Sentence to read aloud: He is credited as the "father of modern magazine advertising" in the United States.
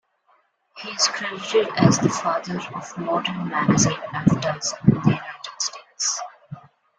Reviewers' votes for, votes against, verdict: 1, 2, rejected